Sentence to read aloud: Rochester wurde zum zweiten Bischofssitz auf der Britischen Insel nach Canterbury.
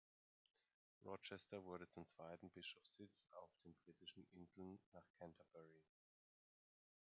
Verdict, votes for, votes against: rejected, 1, 2